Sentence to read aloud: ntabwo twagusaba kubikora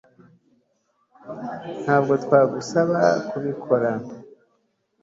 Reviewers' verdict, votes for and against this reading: accepted, 2, 0